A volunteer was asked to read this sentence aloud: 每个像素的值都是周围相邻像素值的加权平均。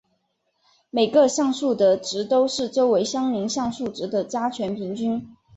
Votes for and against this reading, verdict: 5, 0, accepted